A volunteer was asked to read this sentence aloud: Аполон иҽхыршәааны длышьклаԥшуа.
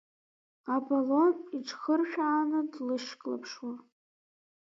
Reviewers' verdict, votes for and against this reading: accepted, 2, 0